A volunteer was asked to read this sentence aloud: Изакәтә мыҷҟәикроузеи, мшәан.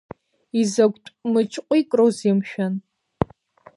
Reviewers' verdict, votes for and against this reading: rejected, 1, 2